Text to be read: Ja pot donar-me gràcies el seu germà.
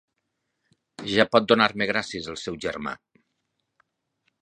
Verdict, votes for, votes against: accepted, 6, 2